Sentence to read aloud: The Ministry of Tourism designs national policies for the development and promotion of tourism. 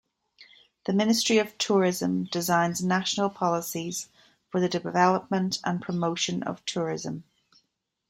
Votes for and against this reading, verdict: 2, 0, accepted